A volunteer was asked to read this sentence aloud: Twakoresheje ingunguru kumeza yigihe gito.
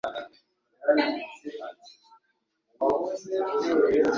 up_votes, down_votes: 0, 2